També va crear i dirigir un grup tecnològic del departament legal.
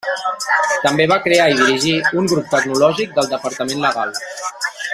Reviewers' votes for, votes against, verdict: 0, 2, rejected